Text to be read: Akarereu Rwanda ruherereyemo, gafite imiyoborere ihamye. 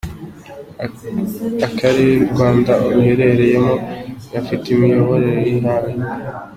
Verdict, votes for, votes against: accepted, 3, 0